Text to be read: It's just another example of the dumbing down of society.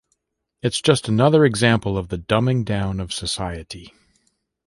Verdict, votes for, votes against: accepted, 2, 0